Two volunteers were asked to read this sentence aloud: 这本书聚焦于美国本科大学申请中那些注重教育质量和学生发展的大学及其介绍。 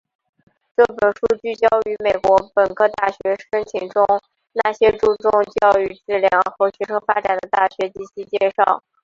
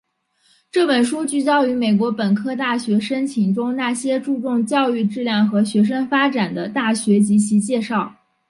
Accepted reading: second